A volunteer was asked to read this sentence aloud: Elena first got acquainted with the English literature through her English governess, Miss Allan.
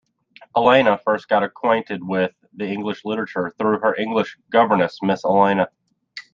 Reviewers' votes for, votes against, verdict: 1, 2, rejected